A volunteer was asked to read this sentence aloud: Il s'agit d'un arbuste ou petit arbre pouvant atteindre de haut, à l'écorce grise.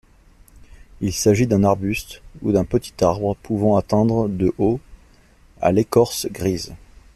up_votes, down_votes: 0, 2